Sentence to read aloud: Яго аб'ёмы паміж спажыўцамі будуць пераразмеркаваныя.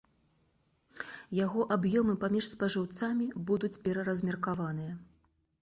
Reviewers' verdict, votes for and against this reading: accepted, 2, 0